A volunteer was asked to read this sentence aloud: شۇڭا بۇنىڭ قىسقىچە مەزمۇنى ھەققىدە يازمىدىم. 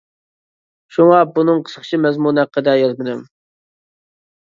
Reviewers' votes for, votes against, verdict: 2, 1, accepted